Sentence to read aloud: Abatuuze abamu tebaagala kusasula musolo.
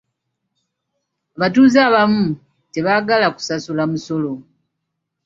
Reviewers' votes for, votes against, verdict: 1, 2, rejected